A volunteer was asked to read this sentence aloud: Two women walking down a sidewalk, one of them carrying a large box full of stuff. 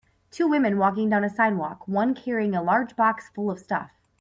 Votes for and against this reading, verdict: 2, 6, rejected